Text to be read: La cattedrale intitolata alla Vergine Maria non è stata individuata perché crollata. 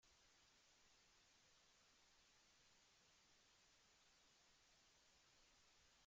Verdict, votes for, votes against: rejected, 0, 2